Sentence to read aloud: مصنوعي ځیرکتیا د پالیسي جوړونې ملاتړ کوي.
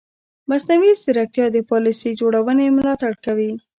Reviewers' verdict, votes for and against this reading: rejected, 1, 2